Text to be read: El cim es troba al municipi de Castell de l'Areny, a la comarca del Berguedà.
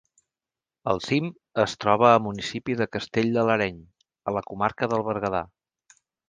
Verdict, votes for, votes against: rejected, 0, 2